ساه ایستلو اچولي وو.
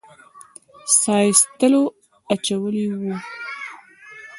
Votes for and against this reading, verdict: 2, 0, accepted